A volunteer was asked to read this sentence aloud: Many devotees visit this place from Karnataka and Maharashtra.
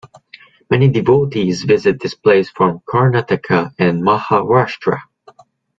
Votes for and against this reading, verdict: 2, 0, accepted